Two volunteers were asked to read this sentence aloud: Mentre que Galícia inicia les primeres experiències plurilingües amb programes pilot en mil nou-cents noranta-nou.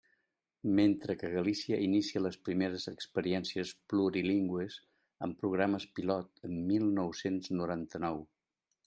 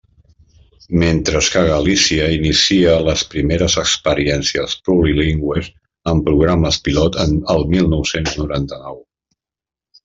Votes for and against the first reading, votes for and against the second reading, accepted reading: 2, 0, 0, 2, first